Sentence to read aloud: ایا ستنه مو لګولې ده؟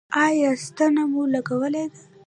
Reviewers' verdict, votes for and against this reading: accepted, 2, 1